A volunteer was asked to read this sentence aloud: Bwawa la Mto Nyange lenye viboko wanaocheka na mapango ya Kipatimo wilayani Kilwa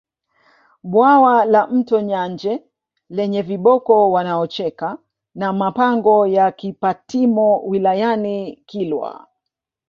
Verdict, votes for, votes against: rejected, 0, 2